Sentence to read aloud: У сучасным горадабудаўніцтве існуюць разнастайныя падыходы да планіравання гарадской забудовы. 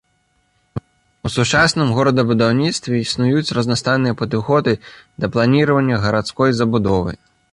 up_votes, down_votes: 2, 0